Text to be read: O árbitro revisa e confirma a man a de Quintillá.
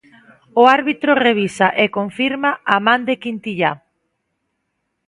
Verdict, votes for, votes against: rejected, 0, 2